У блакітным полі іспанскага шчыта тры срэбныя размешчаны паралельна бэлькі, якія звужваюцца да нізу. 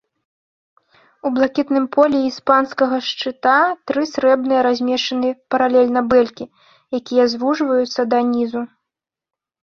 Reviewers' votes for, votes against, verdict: 2, 0, accepted